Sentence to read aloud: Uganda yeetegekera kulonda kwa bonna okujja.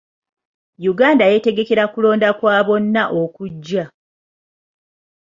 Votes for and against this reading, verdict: 1, 2, rejected